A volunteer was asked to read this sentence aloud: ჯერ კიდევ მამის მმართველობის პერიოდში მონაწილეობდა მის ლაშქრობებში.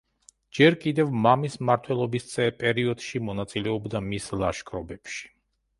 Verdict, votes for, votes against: rejected, 1, 2